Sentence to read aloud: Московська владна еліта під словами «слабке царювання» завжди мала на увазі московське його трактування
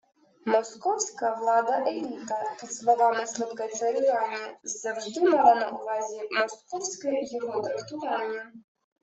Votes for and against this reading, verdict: 0, 2, rejected